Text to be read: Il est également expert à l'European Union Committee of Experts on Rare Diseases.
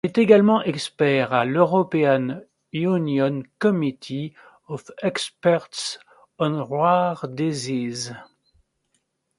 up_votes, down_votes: 1, 2